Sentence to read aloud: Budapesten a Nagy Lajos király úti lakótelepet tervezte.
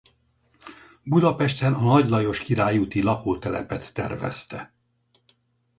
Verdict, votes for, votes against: rejected, 2, 4